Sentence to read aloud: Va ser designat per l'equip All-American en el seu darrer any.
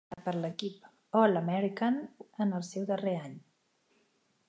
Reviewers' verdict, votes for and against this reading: rejected, 1, 2